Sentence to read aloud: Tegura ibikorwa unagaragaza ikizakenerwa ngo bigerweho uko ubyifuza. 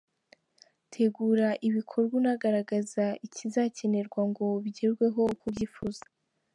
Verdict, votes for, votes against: accepted, 4, 0